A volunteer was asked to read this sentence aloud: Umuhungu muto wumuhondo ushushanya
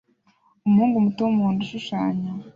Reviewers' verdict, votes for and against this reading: accepted, 2, 0